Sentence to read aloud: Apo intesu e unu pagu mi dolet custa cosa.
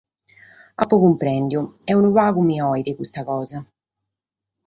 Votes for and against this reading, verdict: 2, 4, rejected